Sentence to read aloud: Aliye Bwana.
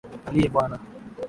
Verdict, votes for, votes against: accepted, 3, 0